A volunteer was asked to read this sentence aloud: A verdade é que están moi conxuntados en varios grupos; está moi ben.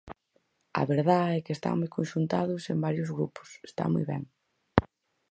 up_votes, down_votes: 0, 4